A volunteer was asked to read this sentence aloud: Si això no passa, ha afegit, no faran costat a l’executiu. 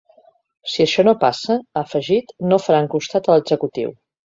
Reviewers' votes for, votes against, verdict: 3, 0, accepted